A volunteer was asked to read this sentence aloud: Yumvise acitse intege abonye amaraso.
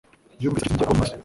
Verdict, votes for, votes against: rejected, 0, 2